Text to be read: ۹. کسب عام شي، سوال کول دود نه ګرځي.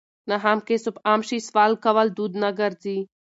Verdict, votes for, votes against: rejected, 0, 2